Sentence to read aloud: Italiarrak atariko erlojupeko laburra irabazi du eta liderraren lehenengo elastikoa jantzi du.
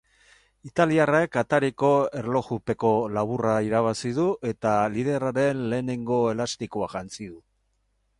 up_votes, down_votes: 4, 2